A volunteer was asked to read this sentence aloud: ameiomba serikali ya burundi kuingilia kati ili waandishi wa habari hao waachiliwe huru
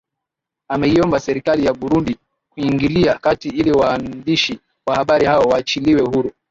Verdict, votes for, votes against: rejected, 1, 2